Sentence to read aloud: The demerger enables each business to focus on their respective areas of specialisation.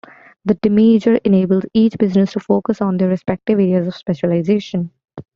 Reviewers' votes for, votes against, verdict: 1, 2, rejected